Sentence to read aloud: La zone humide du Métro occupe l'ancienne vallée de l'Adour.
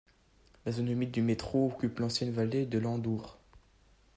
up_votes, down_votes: 1, 2